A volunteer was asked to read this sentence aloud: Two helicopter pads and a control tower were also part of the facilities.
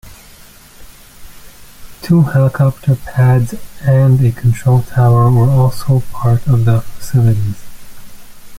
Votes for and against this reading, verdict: 0, 2, rejected